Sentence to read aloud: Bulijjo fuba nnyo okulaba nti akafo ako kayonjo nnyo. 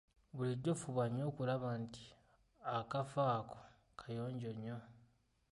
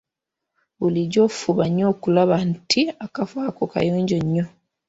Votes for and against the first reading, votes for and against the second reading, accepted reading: 1, 2, 2, 1, second